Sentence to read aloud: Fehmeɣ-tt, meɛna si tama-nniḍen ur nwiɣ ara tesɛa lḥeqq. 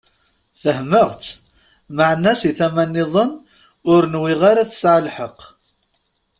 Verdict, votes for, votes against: accepted, 2, 0